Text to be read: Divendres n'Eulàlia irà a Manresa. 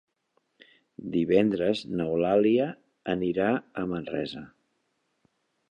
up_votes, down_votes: 0, 2